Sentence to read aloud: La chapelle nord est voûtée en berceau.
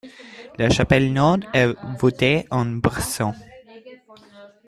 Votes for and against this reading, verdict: 2, 0, accepted